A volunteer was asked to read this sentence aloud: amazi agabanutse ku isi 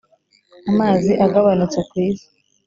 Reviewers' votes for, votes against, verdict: 1, 2, rejected